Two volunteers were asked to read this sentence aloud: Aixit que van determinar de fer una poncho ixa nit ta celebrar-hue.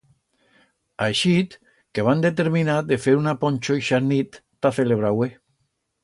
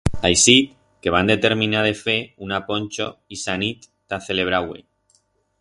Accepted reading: second